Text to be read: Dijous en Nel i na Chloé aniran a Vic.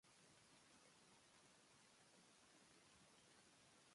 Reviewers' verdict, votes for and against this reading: rejected, 0, 2